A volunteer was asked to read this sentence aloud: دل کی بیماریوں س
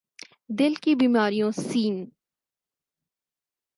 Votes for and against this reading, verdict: 4, 0, accepted